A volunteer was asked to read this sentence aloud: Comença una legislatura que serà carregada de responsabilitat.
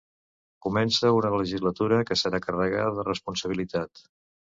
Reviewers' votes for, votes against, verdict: 2, 0, accepted